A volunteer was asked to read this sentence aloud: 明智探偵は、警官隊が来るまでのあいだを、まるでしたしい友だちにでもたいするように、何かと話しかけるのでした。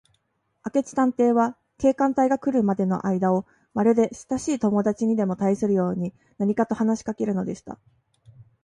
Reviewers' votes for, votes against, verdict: 3, 0, accepted